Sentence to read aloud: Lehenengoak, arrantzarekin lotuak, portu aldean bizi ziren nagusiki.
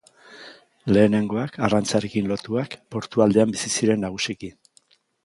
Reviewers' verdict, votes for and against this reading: accepted, 2, 0